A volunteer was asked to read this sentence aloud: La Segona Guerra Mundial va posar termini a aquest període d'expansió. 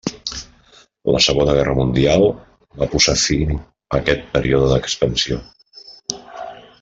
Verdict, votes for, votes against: rejected, 0, 2